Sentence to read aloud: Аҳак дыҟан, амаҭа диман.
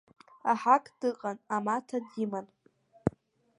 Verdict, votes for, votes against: rejected, 1, 2